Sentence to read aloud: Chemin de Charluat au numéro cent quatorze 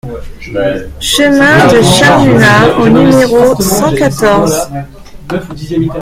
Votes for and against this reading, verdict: 2, 0, accepted